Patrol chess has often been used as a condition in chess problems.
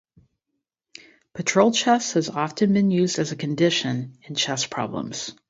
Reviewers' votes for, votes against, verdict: 2, 0, accepted